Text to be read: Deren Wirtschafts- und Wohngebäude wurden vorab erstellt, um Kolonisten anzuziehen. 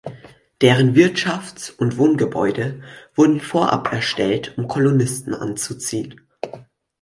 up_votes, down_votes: 4, 0